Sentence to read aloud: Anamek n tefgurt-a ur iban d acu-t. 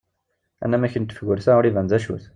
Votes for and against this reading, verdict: 2, 0, accepted